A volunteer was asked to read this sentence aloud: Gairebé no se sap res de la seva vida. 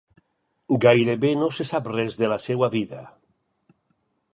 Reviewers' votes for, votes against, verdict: 2, 4, rejected